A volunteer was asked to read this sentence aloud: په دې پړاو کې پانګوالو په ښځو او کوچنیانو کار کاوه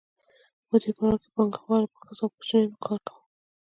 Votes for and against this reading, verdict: 1, 2, rejected